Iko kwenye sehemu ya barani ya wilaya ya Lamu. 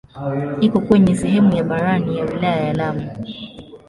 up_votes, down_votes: 2, 0